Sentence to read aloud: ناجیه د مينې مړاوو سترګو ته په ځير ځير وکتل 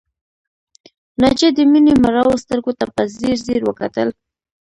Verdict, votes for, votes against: rejected, 1, 2